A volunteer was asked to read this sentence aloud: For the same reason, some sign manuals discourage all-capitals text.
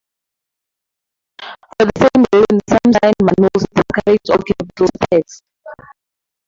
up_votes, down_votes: 0, 2